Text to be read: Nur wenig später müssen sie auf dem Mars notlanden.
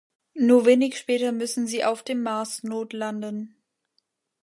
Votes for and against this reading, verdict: 2, 0, accepted